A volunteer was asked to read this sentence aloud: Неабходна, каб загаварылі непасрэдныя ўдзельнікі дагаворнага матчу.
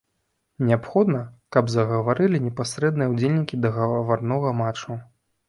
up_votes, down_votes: 1, 2